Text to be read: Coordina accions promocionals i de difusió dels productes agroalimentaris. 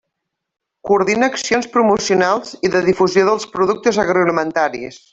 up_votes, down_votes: 3, 0